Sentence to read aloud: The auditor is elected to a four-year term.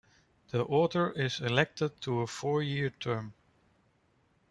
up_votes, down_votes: 1, 2